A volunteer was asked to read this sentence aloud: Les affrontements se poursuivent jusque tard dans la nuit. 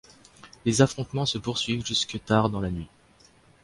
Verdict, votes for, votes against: accepted, 2, 0